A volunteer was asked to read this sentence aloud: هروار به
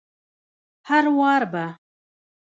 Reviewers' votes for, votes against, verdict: 1, 2, rejected